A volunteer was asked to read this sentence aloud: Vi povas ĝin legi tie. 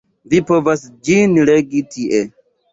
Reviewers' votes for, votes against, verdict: 2, 1, accepted